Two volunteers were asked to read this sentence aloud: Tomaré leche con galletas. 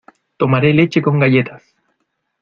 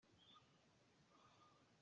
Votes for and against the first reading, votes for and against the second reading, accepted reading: 2, 0, 0, 2, first